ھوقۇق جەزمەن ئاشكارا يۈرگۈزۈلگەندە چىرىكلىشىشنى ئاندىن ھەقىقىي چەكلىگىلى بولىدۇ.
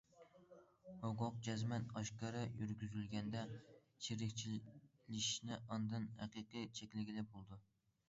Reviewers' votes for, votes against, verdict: 0, 2, rejected